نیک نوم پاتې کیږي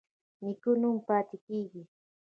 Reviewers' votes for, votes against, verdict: 2, 1, accepted